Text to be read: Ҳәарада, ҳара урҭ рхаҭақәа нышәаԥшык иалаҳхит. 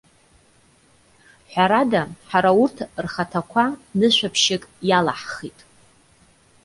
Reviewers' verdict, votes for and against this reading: accepted, 2, 0